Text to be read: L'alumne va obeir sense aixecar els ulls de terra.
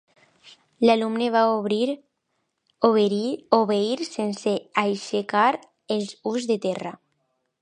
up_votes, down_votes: 0, 2